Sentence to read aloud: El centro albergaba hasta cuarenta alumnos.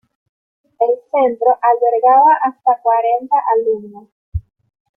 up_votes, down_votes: 2, 0